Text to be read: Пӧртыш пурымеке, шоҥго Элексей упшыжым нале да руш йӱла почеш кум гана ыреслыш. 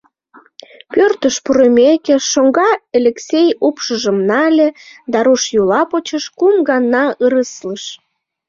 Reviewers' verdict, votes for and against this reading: rejected, 0, 2